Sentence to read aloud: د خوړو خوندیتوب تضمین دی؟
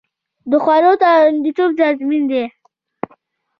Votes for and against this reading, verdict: 1, 2, rejected